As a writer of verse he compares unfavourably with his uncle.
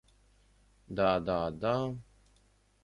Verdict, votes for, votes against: rejected, 0, 2